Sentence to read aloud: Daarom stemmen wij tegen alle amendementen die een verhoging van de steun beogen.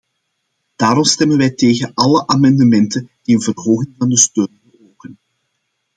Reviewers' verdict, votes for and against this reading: accepted, 2, 1